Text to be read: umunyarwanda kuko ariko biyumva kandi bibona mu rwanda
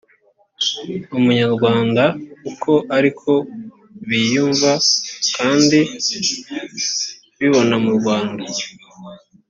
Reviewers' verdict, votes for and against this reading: rejected, 0, 2